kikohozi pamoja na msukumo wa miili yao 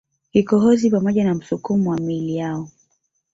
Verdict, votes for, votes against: rejected, 1, 2